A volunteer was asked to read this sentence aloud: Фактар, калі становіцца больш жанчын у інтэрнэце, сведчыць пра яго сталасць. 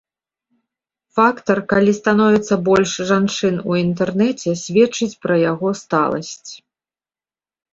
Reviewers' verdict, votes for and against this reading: accepted, 3, 0